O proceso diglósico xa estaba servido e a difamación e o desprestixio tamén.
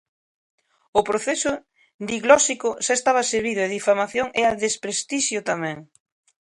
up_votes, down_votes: 1, 2